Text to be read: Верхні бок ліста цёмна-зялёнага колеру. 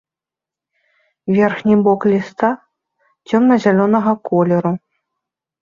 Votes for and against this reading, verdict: 2, 0, accepted